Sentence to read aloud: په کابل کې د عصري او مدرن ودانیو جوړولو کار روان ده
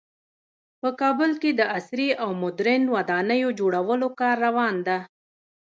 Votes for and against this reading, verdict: 1, 2, rejected